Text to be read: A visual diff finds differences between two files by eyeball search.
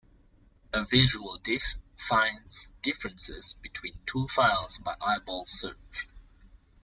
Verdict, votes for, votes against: accepted, 2, 0